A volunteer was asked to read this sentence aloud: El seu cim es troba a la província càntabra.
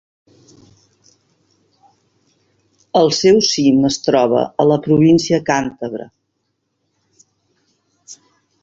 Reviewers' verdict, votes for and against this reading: accepted, 2, 0